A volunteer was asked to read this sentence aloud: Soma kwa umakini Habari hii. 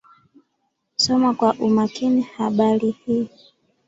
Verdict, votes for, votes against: accepted, 3, 0